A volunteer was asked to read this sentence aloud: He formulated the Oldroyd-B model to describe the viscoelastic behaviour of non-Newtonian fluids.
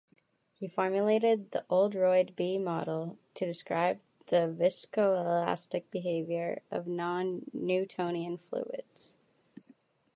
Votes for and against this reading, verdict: 2, 1, accepted